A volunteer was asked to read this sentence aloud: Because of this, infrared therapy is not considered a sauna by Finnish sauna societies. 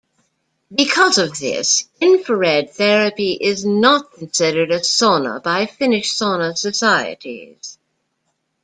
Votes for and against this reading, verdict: 2, 0, accepted